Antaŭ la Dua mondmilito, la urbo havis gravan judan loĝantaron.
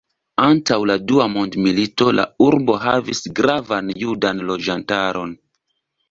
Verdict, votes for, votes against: accepted, 2, 0